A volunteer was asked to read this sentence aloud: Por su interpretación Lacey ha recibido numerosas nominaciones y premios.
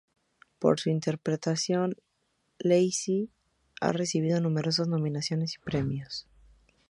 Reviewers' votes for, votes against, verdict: 4, 0, accepted